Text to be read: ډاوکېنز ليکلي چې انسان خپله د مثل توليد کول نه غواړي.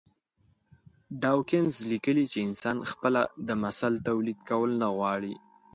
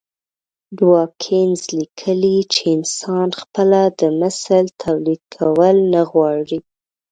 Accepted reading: first